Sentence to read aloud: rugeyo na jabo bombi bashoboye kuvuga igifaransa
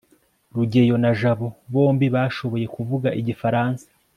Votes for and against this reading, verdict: 2, 0, accepted